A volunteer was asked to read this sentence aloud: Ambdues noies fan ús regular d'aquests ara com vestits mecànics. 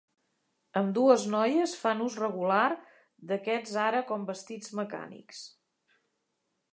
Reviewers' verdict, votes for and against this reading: accepted, 3, 0